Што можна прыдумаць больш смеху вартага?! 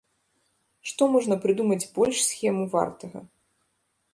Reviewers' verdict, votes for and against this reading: rejected, 0, 2